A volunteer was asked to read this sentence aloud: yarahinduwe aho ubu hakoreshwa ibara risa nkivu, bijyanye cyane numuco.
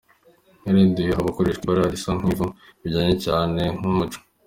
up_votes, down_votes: 3, 0